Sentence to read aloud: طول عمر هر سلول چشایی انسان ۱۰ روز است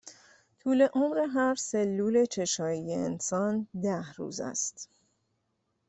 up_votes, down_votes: 0, 2